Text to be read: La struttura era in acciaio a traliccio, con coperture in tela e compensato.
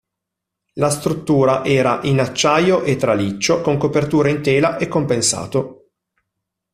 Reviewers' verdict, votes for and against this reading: rejected, 0, 2